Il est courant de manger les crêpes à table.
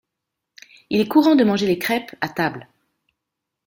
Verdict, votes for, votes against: accepted, 2, 1